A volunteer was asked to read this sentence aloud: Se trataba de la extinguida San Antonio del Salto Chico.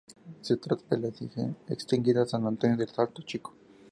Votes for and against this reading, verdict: 0, 4, rejected